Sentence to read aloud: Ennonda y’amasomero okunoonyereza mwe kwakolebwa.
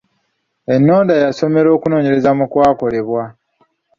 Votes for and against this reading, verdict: 1, 2, rejected